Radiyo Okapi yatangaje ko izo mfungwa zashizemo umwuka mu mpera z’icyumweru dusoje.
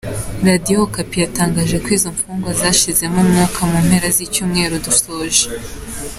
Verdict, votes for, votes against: accepted, 3, 0